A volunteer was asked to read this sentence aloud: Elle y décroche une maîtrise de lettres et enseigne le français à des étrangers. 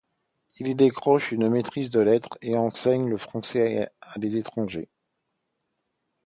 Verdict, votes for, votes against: rejected, 0, 2